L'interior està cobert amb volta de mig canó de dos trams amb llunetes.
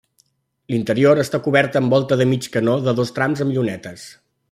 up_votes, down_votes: 3, 0